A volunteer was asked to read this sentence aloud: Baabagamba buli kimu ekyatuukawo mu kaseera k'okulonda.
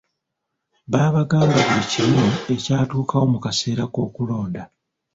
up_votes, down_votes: 1, 2